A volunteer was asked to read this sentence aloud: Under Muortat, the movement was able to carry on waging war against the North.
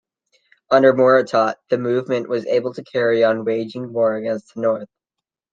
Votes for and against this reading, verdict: 3, 0, accepted